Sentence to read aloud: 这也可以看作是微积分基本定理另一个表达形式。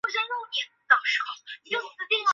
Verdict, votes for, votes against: rejected, 0, 2